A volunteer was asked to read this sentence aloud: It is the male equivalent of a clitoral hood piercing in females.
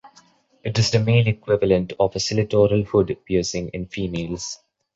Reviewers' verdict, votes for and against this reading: rejected, 0, 2